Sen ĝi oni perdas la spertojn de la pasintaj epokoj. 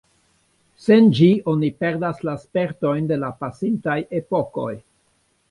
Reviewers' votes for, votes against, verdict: 2, 3, rejected